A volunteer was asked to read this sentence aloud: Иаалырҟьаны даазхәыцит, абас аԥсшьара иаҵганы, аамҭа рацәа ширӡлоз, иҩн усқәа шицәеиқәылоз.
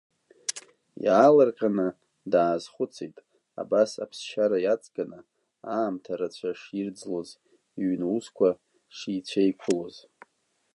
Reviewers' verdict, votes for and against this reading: rejected, 0, 2